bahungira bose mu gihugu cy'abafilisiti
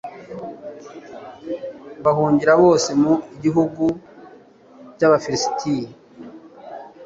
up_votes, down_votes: 0, 2